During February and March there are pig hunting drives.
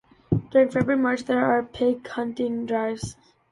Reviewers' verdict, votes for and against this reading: rejected, 1, 2